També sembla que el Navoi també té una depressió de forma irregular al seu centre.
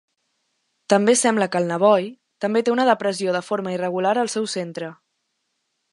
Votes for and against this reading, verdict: 2, 0, accepted